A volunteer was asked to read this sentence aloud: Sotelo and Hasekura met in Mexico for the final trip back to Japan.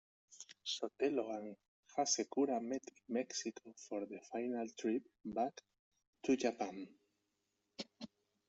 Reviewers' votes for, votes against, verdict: 2, 0, accepted